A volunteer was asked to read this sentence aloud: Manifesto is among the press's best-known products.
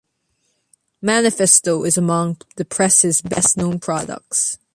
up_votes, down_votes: 2, 0